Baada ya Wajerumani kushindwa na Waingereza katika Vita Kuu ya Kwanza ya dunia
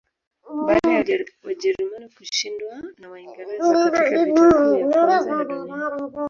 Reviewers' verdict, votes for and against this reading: accepted, 2, 0